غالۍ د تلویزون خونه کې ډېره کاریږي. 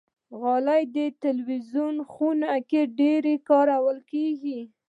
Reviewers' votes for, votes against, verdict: 1, 2, rejected